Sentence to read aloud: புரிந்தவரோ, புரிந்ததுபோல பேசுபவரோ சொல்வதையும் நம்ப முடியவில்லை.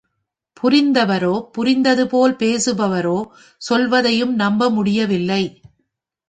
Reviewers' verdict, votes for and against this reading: accepted, 3, 0